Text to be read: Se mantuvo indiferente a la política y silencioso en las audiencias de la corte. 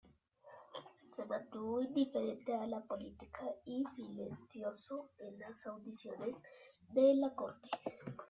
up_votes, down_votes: 1, 2